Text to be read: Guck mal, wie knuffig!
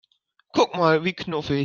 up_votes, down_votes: 1, 2